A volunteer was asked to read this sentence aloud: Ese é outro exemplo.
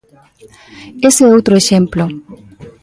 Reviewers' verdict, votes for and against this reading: accepted, 2, 1